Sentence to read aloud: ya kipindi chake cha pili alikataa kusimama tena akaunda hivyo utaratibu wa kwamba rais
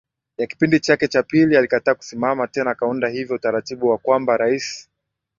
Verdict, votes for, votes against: accepted, 5, 0